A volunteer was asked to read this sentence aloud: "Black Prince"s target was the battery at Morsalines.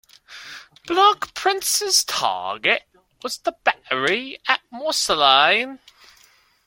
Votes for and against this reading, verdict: 2, 0, accepted